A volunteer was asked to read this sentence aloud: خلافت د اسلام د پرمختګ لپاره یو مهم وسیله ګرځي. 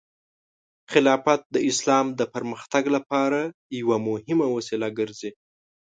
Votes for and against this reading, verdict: 1, 2, rejected